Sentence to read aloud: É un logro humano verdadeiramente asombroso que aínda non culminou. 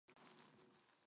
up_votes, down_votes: 0, 4